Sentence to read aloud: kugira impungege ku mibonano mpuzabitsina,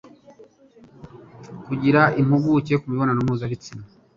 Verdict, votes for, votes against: rejected, 1, 2